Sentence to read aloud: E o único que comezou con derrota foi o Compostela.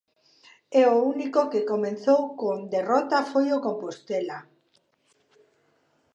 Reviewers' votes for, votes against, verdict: 1, 2, rejected